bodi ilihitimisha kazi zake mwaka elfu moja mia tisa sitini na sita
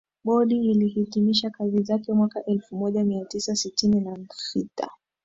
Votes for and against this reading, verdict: 1, 2, rejected